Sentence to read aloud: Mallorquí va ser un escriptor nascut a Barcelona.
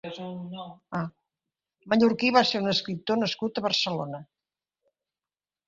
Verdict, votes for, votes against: rejected, 0, 2